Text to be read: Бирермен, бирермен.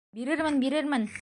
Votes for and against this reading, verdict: 2, 0, accepted